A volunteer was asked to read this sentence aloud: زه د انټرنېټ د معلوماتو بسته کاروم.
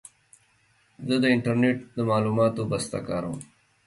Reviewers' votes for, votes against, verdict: 2, 0, accepted